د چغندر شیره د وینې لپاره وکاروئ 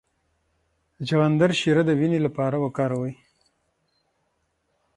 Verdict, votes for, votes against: rejected, 3, 6